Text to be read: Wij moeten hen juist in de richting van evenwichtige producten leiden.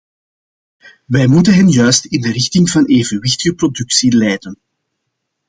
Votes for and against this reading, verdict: 2, 0, accepted